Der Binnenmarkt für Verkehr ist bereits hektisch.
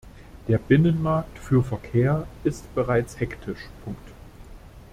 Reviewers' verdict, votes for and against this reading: rejected, 1, 2